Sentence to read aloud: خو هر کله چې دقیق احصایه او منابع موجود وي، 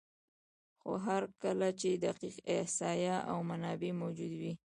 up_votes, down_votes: 0, 2